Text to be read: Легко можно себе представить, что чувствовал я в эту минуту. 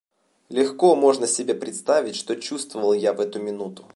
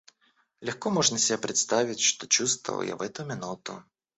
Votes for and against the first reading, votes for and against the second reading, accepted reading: 2, 0, 0, 2, first